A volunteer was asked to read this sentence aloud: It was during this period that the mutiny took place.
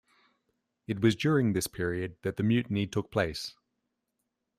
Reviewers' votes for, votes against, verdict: 2, 0, accepted